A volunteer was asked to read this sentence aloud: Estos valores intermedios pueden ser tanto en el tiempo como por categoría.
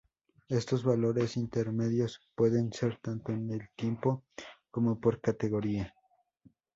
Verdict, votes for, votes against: accepted, 2, 0